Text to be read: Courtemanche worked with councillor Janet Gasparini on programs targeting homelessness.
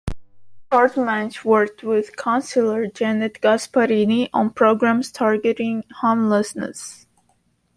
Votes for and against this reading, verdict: 2, 0, accepted